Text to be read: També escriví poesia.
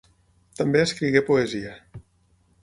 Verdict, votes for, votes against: rejected, 3, 6